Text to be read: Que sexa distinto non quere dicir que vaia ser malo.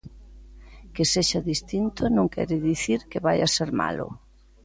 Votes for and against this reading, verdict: 2, 0, accepted